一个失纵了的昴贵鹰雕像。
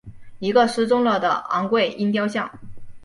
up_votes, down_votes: 3, 1